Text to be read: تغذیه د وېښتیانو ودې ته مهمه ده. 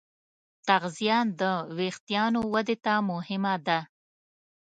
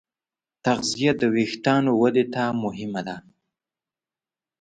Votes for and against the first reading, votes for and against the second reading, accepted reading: 1, 2, 3, 0, second